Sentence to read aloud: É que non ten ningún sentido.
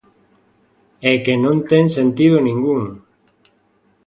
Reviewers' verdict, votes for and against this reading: rejected, 0, 2